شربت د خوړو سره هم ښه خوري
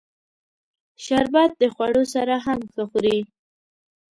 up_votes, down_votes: 2, 0